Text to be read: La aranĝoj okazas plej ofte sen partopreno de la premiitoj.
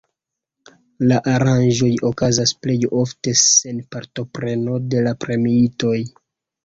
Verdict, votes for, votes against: accepted, 2, 0